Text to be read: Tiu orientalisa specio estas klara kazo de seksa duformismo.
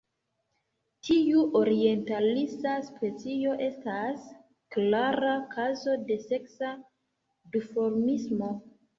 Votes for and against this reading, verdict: 1, 2, rejected